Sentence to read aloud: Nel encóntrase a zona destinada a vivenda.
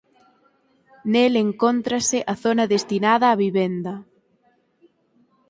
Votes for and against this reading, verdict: 4, 0, accepted